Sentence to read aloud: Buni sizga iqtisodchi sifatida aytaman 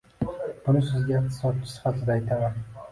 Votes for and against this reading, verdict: 2, 1, accepted